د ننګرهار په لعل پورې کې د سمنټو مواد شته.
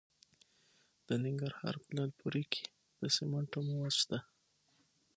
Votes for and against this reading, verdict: 3, 6, rejected